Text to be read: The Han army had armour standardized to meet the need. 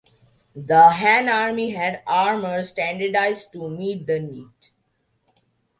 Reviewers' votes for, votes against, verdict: 2, 1, accepted